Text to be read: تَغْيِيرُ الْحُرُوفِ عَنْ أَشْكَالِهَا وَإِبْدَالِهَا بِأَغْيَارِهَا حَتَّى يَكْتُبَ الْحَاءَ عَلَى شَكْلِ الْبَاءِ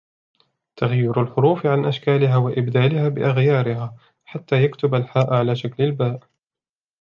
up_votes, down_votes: 2, 0